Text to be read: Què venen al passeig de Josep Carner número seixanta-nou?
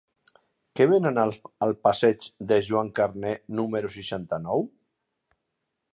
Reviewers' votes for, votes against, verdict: 1, 2, rejected